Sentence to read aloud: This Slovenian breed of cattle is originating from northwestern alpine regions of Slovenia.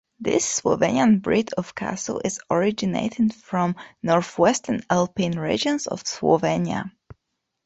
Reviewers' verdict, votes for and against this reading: rejected, 0, 2